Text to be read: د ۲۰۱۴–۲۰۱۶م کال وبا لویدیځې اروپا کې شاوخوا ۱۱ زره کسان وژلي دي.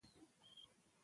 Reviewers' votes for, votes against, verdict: 0, 2, rejected